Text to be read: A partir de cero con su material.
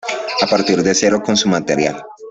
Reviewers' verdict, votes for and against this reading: accepted, 2, 0